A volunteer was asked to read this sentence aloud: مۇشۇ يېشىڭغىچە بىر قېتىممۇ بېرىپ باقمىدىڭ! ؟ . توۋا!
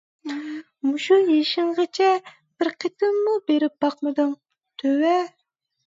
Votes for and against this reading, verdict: 0, 2, rejected